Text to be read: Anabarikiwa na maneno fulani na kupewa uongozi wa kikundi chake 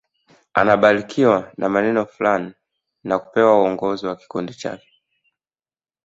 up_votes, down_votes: 2, 0